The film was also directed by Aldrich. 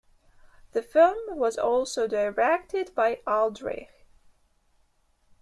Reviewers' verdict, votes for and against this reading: rejected, 2, 3